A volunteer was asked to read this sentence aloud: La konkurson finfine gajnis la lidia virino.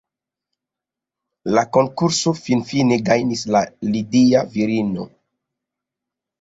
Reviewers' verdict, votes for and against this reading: rejected, 0, 2